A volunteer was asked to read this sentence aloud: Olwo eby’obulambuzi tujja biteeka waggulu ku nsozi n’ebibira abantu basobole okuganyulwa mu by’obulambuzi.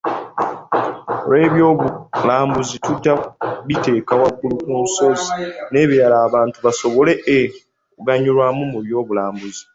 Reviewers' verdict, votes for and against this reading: rejected, 0, 2